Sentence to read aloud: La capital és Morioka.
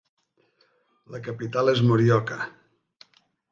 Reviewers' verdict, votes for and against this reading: accepted, 2, 0